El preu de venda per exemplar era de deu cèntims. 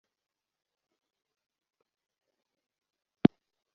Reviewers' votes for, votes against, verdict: 0, 2, rejected